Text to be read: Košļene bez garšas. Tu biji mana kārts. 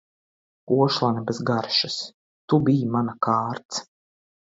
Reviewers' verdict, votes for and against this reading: accepted, 2, 1